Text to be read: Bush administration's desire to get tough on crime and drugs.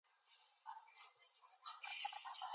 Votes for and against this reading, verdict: 0, 4, rejected